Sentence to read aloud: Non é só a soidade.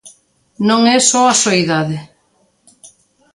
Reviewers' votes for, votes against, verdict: 2, 0, accepted